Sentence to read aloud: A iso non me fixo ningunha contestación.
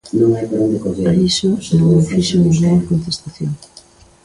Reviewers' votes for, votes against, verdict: 0, 2, rejected